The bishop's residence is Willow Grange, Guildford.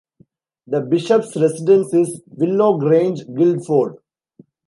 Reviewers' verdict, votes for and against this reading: rejected, 0, 2